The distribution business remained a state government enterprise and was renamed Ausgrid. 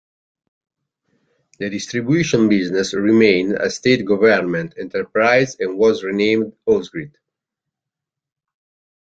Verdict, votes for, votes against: accepted, 2, 0